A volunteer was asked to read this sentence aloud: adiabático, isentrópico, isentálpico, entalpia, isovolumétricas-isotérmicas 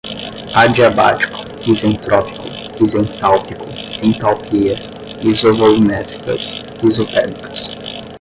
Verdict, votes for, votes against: rejected, 5, 5